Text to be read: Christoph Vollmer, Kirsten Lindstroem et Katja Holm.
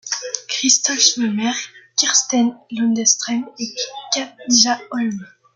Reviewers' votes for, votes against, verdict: 2, 0, accepted